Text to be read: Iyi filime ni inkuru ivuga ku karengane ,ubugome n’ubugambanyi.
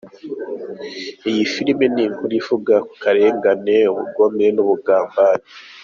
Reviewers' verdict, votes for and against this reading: accepted, 2, 0